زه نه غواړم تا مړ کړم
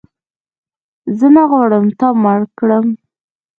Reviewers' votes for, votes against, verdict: 2, 1, accepted